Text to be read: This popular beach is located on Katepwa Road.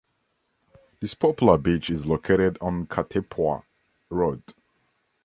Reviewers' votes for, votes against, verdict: 2, 0, accepted